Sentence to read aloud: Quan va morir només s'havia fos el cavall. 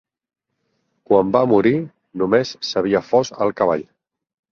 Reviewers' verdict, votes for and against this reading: accepted, 4, 0